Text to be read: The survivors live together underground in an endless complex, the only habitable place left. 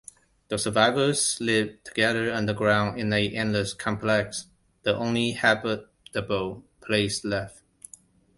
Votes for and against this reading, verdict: 2, 1, accepted